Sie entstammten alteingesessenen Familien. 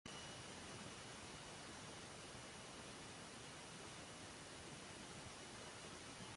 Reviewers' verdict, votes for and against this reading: rejected, 0, 2